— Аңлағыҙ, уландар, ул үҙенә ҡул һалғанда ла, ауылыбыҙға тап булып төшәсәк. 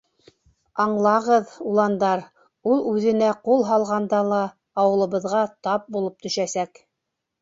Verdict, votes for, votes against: rejected, 1, 3